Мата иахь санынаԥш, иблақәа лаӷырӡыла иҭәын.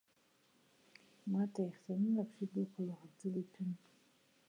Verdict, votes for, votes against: rejected, 0, 2